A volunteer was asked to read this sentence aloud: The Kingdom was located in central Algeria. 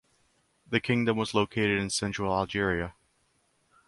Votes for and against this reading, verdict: 2, 0, accepted